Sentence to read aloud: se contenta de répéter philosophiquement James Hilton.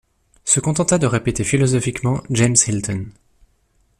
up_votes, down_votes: 2, 0